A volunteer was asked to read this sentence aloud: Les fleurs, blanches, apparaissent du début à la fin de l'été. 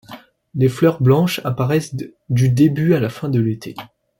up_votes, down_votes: 0, 2